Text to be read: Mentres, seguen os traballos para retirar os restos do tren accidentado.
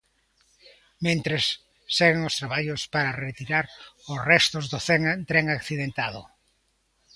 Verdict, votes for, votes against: rejected, 0, 2